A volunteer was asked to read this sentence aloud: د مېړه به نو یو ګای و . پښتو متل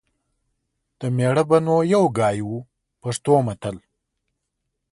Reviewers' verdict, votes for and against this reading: accepted, 2, 0